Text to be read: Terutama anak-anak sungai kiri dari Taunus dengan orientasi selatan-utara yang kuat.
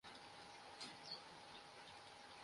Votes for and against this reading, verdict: 0, 2, rejected